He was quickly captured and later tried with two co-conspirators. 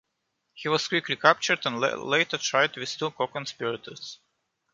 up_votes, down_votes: 2, 1